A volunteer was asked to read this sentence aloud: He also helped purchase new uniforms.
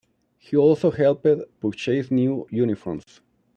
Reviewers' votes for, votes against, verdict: 1, 2, rejected